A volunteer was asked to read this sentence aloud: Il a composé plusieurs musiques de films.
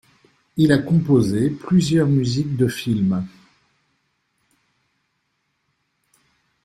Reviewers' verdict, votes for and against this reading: accepted, 2, 0